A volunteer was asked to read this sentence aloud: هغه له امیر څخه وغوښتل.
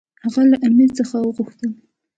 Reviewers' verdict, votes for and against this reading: accepted, 2, 0